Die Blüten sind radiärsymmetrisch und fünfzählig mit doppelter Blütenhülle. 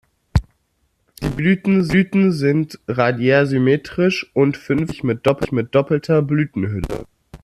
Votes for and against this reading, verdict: 0, 2, rejected